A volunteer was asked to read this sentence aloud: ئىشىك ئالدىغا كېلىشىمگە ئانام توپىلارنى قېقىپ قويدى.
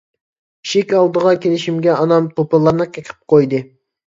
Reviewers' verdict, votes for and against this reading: rejected, 0, 2